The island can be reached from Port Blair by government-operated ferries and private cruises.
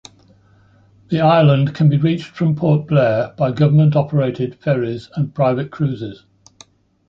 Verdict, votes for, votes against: accepted, 2, 0